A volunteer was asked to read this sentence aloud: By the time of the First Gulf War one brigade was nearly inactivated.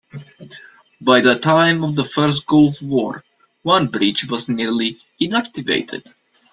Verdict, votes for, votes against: rejected, 0, 2